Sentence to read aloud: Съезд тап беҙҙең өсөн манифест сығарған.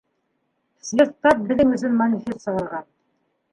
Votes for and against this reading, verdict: 2, 1, accepted